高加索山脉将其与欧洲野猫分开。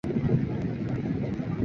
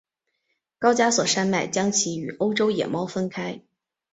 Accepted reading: second